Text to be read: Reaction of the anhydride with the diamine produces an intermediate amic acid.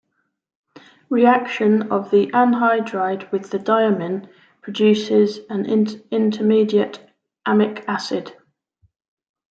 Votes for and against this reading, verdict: 0, 3, rejected